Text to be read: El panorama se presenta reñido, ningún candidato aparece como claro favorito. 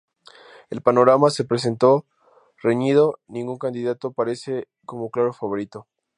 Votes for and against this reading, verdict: 0, 2, rejected